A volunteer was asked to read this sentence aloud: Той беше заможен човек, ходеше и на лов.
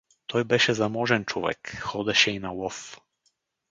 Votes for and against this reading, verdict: 4, 2, accepted